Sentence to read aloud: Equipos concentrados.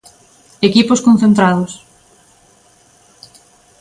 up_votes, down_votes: 2, 0